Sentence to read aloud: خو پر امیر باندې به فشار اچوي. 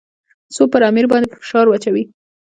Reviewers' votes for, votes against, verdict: 2, 0, accepted